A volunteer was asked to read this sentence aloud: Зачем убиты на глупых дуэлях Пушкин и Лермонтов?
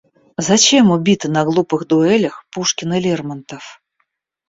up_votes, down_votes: 2, 0